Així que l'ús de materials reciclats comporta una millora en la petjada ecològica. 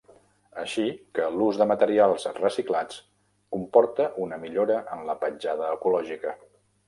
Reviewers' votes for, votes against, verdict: 1, 2, rejected